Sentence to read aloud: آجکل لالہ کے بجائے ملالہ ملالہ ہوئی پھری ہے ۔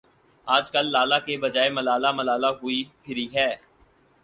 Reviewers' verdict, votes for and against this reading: accepted, 4, 0